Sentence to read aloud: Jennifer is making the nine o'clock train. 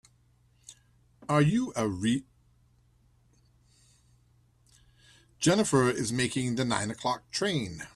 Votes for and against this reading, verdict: 0, 2, rejected